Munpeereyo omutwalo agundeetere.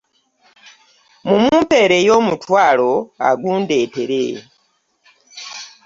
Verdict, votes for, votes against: accepted, 2, 0